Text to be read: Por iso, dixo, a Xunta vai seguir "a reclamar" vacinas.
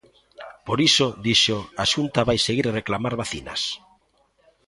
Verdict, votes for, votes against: accepted, 2, 1